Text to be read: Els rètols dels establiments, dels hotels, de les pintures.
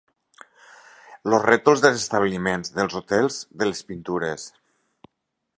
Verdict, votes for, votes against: accepted, 2, 0